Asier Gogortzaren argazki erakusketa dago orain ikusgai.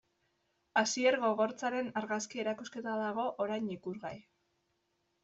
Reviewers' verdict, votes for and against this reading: accepted, 2, 1